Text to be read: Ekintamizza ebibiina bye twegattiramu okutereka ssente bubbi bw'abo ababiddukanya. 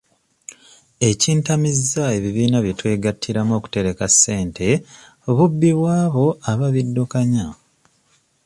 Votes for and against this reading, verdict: 2, 0, accepted